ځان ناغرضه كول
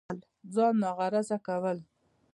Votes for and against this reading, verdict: 0, 2, rejected